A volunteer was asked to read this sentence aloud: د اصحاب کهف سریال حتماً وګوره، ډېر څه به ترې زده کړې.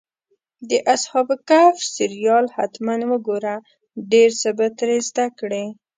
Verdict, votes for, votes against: accepted, 2, 0